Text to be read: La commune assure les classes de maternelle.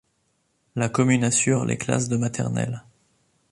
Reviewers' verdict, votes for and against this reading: accepted, 2, 0